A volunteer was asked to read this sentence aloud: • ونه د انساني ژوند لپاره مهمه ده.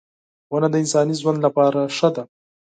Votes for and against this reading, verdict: 2, 4, rejected